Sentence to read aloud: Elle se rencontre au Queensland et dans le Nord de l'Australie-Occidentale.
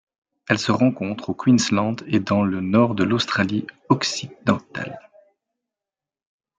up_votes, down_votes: 2, 0